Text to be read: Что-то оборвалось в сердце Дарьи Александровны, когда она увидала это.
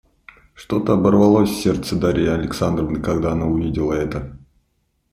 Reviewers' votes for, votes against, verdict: 2, 0, accepted